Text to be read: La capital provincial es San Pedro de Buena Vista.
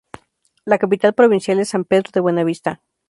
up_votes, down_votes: 2, 0